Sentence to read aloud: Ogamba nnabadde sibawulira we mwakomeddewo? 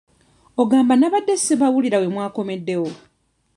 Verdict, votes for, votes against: accepted, 2, 0